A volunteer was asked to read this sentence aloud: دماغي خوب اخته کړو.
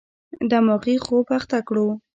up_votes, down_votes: 2, 0